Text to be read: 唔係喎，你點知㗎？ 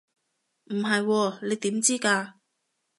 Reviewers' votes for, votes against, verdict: 2, 0, accepted